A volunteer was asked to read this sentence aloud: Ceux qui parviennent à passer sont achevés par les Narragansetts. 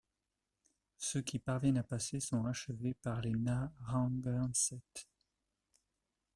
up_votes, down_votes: 1, 2